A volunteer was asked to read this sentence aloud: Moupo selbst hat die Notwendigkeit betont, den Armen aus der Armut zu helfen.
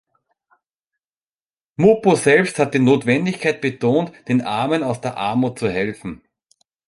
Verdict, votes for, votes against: accepted, 2, 0